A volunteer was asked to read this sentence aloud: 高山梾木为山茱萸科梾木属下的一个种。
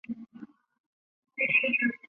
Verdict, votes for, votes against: rejected, 0, 2